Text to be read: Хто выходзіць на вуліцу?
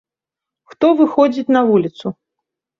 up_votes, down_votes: 2, 0